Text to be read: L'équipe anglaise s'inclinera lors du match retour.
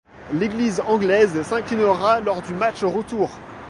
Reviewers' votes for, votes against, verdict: 1, 2, rejected